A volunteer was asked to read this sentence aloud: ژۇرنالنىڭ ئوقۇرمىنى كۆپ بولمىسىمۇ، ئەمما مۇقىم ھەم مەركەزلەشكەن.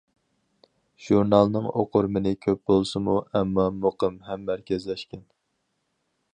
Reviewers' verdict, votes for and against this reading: rejected, 0, 4